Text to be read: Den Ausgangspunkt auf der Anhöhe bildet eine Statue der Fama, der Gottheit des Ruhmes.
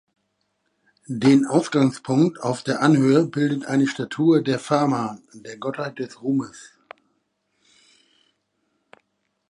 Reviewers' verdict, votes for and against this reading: accepted, 2, 0